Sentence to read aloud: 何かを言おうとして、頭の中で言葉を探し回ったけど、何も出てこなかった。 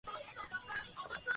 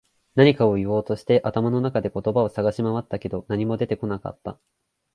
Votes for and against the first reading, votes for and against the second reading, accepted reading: 0, 2, 2, 0, second